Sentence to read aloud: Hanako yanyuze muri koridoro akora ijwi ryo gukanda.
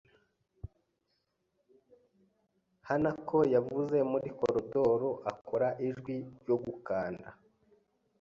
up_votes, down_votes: 3, 0